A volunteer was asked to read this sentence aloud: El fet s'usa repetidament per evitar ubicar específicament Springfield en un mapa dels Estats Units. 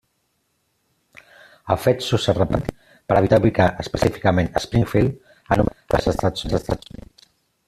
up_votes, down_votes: 0, 2